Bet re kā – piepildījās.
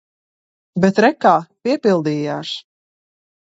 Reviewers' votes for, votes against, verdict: 2, 0, accepted